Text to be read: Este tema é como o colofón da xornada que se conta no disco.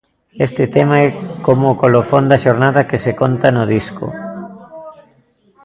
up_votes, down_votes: 2, 0